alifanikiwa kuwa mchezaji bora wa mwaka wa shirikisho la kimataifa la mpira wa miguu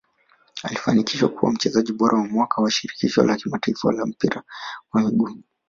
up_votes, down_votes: 0, 2